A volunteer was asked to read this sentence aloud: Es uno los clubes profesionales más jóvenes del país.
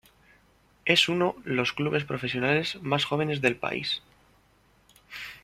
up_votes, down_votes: 2, 0